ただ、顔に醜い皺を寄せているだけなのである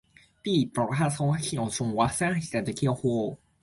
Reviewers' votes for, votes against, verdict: 0, 2, rejected